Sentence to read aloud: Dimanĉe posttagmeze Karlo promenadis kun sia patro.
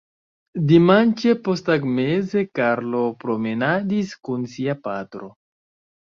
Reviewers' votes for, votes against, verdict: 0, 2, rejected